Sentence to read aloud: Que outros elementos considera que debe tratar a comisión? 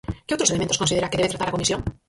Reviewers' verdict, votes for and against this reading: rejected, 0, 4